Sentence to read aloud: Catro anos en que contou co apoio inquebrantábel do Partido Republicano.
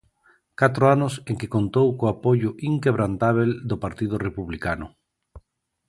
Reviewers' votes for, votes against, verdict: 2, 0, accepted